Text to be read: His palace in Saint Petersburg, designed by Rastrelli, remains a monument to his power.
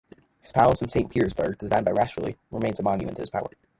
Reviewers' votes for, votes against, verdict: 0, 2, rejected